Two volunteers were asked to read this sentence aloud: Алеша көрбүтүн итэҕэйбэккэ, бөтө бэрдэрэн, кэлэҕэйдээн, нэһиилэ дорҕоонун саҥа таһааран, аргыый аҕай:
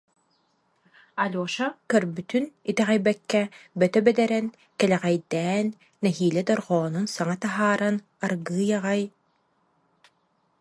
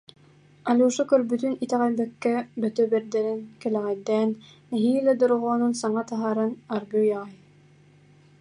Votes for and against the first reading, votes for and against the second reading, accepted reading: 0, 2, 3, 0, second